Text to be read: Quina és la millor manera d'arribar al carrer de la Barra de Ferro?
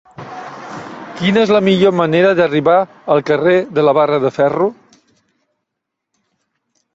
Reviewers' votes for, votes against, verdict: 3, 0, accepted